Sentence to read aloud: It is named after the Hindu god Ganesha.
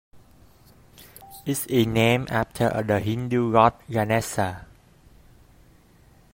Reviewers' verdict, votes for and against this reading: rejected, 1, 2